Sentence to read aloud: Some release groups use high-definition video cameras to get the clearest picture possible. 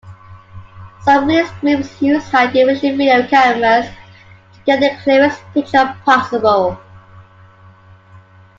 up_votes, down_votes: 2, 0